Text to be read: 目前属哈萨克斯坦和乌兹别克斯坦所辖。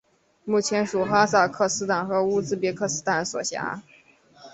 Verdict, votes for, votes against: accepted, 3, 0